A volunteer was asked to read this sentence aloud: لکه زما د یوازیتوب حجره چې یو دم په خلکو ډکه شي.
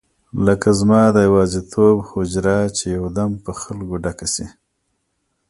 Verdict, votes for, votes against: accepted, 2, 0